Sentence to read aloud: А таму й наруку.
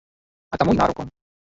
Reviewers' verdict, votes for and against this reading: rejected, 0, 2